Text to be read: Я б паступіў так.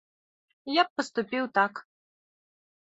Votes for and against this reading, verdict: 2, 0, accepted